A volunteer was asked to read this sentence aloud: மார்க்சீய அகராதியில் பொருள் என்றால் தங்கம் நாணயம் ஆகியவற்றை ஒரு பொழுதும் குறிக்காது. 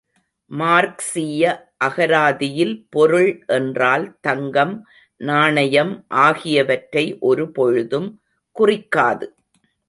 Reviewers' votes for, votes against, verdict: 2, 0, accepted